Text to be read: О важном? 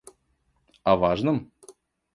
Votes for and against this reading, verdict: 2, 0, accepted